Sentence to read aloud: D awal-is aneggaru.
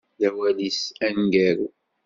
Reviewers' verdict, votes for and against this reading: accepted, 2, 0